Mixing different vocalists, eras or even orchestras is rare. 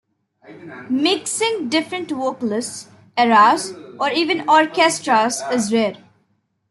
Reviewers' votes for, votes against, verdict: 1, 2, rejected